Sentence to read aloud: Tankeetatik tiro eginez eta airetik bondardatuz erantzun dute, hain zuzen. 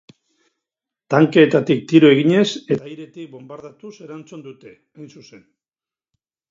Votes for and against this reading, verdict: 0, 6, rejected